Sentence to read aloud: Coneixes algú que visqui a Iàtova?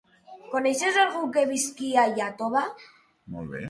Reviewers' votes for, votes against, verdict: 3, 6, rejected